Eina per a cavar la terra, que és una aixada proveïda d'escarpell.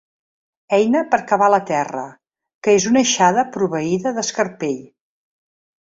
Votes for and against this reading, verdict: 0, 2, rejected